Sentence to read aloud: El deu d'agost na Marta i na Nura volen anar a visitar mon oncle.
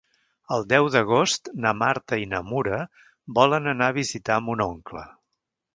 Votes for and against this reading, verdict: 0, 2, rejected